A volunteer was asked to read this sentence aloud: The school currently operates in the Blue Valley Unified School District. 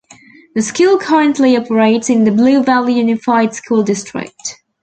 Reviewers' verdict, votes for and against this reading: accepted, 2, 0